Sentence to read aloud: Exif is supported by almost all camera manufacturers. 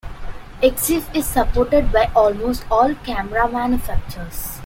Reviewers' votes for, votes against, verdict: 2, 0, accepted